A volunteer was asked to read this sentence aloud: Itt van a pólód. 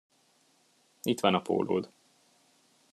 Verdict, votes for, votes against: accepted, 2, 0